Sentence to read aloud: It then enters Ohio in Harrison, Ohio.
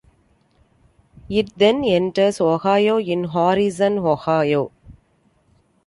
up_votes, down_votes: 2, 1